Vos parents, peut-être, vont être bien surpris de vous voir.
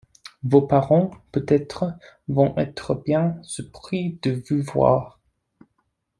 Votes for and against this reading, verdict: 2, 0, accepted